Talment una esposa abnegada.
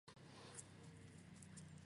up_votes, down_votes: 2, 2